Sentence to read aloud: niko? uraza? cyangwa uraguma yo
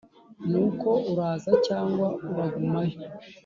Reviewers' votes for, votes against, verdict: 0, 2, rejected